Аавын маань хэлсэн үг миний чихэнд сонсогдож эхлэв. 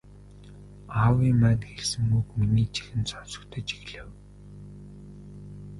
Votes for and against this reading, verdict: 0, 2, rejected